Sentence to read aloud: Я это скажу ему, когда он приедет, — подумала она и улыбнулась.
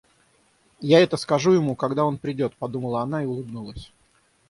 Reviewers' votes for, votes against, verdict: 0, 6, rejected